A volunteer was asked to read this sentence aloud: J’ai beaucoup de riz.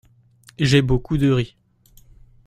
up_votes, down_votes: 2, 0